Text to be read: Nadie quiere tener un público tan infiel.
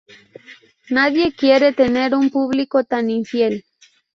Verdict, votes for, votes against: accepted, 2, 0